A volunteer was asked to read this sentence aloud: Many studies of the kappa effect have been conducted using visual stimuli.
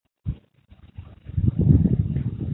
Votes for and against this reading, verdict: 0, 2, rejected